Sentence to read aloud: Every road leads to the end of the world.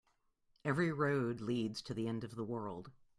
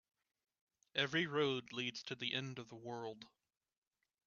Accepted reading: first